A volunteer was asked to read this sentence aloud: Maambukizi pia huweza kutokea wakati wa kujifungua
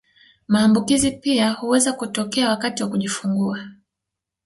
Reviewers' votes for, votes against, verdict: 0, 2, rejected